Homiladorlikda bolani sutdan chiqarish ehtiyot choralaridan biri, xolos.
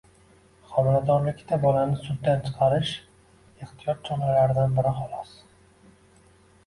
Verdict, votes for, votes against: rejected, 1, 2